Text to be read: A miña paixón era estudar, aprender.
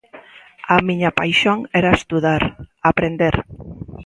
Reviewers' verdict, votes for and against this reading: accepted, 2, 0